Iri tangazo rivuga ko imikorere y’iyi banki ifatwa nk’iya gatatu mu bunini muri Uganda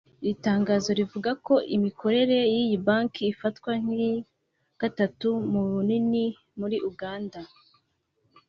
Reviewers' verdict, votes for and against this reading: accepted, 2, 0